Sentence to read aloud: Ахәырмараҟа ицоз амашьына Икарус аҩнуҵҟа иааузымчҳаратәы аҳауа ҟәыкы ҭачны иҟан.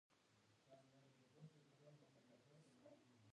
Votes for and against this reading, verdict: 0, 2, rejected